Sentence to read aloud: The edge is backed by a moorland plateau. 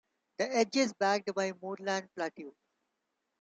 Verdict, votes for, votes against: rejected, 1, 2